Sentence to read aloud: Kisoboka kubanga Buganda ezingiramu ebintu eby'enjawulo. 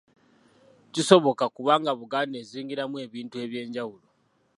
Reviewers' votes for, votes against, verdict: 2, 0, accepted